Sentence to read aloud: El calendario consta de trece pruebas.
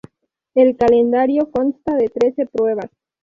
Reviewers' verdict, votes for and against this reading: rejected, 0, 2